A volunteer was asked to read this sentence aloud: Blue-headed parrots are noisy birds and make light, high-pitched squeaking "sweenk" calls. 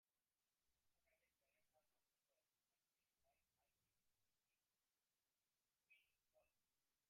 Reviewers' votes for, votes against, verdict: 0, 2, rejected